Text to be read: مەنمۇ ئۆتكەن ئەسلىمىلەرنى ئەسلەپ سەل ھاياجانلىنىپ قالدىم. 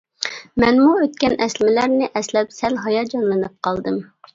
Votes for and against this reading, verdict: 2, 0, accepted